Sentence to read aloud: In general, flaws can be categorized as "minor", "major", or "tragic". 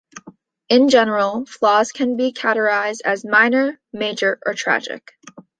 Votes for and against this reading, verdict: 2, 0, accepted